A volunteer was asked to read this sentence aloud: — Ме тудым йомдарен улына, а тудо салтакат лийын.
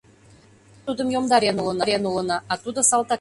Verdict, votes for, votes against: rejected, 0, 2